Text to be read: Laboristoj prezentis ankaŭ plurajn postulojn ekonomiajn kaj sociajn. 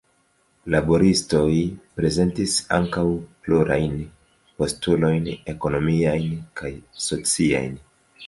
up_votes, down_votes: 2, 1